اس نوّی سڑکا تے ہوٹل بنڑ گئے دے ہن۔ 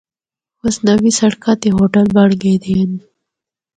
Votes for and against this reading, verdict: 4, 0, accepted